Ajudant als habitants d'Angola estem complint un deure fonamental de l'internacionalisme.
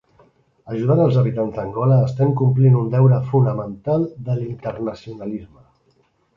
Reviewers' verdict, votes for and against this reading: rejected, 1, 2